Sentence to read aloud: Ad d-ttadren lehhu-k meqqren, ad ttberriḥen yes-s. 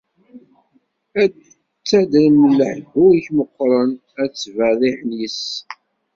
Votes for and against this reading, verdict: 1, 2, rejected